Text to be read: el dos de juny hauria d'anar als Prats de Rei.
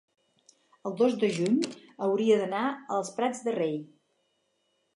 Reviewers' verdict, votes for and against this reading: accepted, 4, 0